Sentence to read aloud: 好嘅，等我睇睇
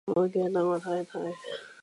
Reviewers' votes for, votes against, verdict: 1, 2, rejected